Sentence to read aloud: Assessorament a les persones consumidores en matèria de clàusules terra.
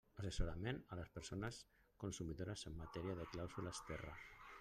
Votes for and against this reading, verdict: 1, 2, rejected